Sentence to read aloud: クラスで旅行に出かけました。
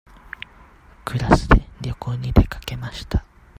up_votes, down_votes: 2, 0